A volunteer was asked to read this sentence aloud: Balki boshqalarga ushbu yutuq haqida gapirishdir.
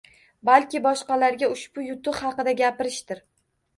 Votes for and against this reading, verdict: 1, 2, rejected